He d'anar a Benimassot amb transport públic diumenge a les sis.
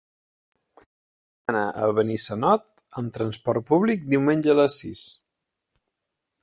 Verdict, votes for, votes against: rejected, 1, 3